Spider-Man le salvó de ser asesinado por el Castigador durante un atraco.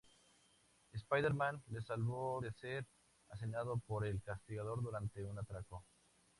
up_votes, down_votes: 0, 2